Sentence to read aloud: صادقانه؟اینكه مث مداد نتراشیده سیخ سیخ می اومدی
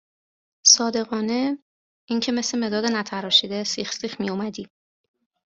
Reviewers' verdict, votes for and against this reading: accepted, 2, 0